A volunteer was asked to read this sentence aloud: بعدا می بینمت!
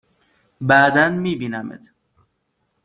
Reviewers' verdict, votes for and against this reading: accepted, 2, 0